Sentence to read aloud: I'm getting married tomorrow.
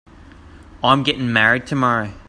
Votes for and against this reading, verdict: 2, 0, accepted